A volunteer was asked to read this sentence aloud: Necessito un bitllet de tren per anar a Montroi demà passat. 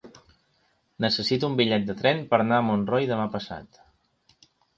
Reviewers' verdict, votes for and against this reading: accepted, 2, 0